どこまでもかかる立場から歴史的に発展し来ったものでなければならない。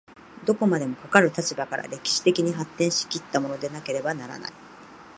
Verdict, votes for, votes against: accepted, 2, 0